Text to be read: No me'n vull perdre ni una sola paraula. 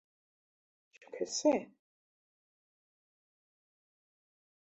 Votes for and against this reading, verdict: 0, 2, rejected